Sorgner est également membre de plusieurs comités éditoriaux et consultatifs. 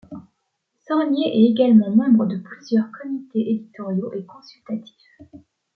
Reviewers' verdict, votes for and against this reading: accepted, 2, 0